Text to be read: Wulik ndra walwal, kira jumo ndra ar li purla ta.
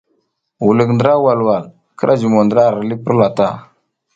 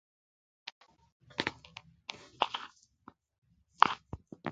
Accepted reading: first